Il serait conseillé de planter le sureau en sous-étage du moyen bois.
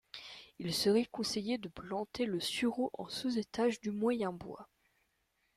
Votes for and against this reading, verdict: 2, 0, accepted